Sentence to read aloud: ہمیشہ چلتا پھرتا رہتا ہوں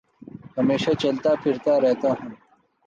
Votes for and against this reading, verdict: 3, 0, accepted